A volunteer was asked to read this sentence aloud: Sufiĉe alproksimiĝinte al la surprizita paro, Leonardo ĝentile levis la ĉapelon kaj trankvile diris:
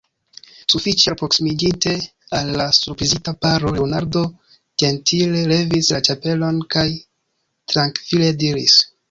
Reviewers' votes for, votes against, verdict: 2, 1, accepted